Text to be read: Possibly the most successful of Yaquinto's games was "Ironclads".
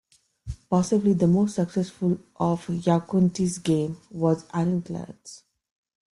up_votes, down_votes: 1, 2